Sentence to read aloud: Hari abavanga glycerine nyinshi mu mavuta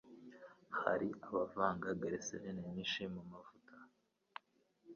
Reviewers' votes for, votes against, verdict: 1, 3, rejected